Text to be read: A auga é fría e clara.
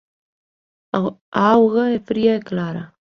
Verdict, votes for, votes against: rejected, 1, 2